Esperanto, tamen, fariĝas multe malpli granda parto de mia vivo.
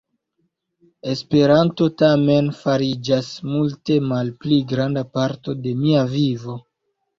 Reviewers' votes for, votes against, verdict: 2, 0, accepted